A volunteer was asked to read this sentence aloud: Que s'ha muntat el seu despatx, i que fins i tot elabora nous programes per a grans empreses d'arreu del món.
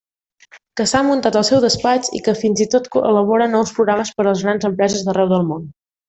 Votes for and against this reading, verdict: 1, 2, rejected